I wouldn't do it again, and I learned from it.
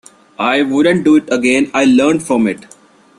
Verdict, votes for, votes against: rejected, 1, 2